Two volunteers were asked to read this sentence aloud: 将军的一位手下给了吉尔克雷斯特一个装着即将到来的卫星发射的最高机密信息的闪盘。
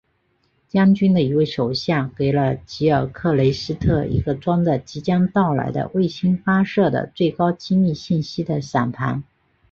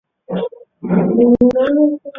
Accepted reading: first